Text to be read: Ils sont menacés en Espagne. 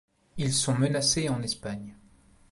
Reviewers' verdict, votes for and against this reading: accepted, 2, 0